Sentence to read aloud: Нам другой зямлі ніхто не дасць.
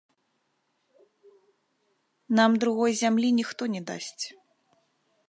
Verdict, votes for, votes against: rejected, 1, 2